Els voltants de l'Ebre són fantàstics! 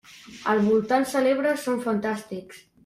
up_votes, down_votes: 0, 2